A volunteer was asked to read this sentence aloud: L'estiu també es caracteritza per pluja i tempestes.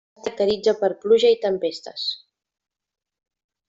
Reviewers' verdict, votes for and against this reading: rejected, 0, 2